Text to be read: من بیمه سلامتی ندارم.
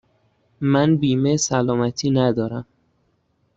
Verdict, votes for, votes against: accepted, 2, 0